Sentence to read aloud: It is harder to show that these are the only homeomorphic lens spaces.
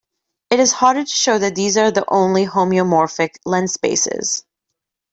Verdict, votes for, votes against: accepted, 2, 0